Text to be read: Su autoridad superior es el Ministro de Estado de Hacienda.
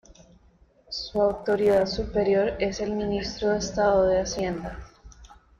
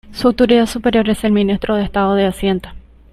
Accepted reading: first